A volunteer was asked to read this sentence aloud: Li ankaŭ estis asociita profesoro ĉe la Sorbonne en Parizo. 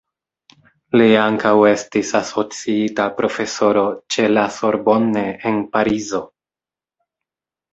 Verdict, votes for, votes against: rejected, 1, 2